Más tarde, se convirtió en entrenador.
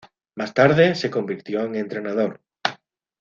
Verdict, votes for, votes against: accepted, 2, 0